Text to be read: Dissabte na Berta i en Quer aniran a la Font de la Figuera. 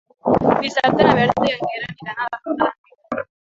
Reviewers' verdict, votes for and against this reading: rejected, 0, 2